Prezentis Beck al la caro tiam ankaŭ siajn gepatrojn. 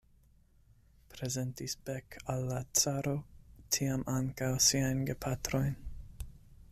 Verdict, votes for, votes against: accepted, 2, 1